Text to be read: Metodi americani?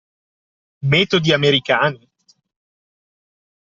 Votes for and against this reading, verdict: 2, 0, accepted